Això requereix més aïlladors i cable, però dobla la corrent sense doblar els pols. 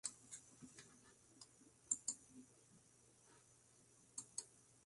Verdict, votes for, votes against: rejected, 0, 2